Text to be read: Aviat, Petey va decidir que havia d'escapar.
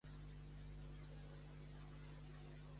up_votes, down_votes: 0, 2